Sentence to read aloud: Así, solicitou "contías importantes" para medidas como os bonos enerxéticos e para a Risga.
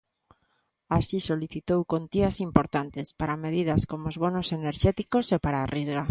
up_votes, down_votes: 1, 2